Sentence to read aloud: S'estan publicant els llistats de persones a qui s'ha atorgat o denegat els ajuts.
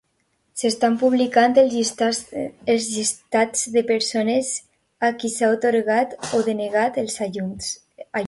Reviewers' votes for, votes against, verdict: 0, 2, rejected